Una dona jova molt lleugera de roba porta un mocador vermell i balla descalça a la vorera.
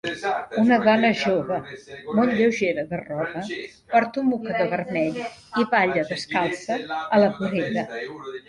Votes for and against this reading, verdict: 1, 2, rejected